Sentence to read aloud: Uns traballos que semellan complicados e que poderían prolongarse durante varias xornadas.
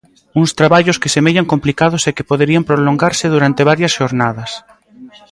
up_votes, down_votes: 1, 2